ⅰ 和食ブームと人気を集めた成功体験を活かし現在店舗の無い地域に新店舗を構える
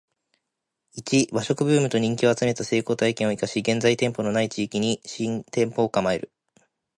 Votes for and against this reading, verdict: 2, 1, accepted